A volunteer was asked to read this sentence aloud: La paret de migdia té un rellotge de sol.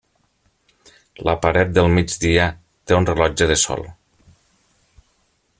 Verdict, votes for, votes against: rejected, 2, 3